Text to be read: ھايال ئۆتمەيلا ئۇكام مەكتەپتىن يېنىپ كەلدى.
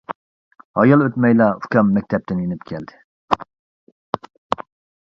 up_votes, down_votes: 2, 0